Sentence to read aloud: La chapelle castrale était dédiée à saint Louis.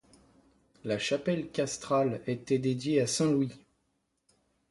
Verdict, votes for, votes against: accepted, 2, 0